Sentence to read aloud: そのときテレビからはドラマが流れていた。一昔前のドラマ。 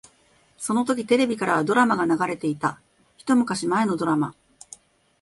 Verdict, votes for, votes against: accepted, 2, 0